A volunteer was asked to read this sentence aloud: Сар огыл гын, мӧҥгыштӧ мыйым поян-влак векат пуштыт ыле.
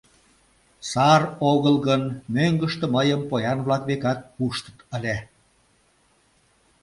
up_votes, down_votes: 0, 2